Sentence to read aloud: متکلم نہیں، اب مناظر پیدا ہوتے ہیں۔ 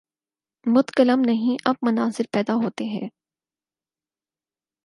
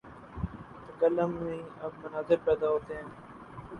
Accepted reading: first